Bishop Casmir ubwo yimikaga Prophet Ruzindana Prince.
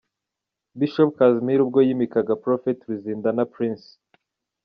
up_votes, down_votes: 2, 0